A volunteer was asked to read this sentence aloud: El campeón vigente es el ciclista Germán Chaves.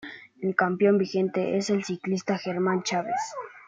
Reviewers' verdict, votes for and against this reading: accepted, 2, 0